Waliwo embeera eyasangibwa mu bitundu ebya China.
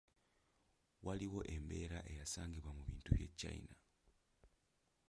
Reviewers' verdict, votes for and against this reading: rejected, 0, 2